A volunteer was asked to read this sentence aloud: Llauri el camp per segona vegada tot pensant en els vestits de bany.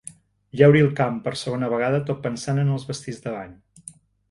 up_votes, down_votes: 3, 0